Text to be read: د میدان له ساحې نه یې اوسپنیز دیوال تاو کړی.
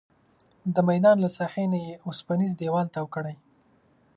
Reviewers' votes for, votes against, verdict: 3, 0, accepted